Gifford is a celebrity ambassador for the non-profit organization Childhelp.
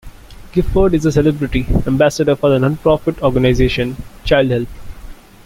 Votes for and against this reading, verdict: 1, 2, rejected